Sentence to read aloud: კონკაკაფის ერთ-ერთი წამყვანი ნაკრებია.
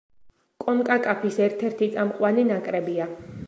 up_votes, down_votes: 2, 0